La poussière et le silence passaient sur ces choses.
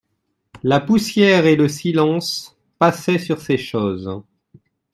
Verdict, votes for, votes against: accepted, 2, 0